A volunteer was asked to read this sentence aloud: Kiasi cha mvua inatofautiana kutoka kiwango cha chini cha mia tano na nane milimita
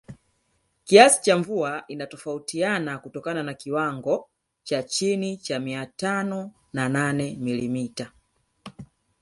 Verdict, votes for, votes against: rejected, 1, 2